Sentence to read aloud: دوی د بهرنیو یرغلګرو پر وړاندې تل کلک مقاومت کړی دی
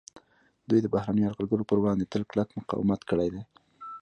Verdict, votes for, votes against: accepted, 2, 1